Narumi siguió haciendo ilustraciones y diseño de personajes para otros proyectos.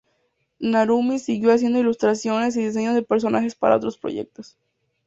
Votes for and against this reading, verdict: 2, 0, accepted